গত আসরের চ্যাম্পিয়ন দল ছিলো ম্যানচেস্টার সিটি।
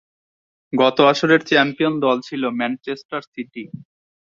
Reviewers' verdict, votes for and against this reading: accepted, 4, 0